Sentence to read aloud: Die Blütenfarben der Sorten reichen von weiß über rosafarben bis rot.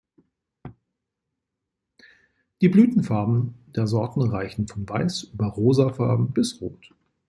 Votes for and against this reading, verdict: 2, 0, accepted